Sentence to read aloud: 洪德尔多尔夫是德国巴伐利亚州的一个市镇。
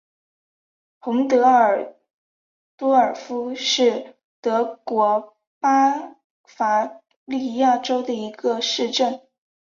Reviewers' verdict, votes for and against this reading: accepted, 2, 1